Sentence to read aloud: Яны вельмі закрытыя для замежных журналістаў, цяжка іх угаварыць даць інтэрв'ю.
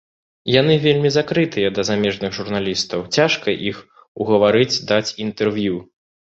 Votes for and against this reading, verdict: 1, 2, rejected